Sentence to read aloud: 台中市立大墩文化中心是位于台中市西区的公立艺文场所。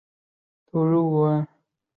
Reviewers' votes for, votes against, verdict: 1, 3, rejected